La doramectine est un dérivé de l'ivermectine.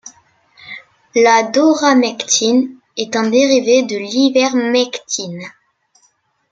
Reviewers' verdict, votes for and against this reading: rejected, 0, 2